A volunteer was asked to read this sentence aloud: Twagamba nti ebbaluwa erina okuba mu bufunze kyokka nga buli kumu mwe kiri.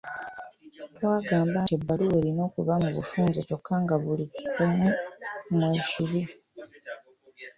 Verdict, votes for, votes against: accepted, 2, 0